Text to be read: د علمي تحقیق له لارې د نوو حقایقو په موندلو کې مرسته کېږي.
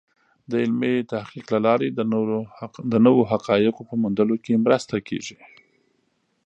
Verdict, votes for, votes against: rejected, 1, 2